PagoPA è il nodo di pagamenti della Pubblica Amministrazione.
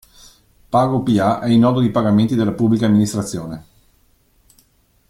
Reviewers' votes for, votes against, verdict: 2, 1, accepted